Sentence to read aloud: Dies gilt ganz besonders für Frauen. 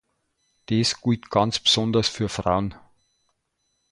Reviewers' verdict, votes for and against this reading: rejected, 0, 2